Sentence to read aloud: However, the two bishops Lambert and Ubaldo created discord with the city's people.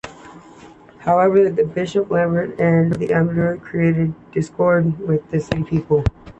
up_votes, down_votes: 0, 3